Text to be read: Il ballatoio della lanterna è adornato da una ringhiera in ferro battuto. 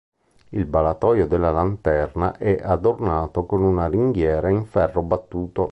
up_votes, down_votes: 1, 2